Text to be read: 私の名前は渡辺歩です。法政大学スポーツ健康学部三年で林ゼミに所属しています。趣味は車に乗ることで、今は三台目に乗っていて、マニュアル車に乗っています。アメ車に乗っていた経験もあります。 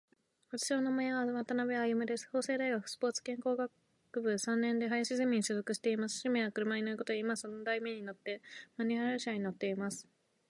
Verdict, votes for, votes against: accepted, 3, 1